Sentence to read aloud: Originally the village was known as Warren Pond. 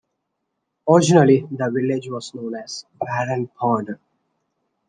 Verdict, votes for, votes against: accepted, 3, 0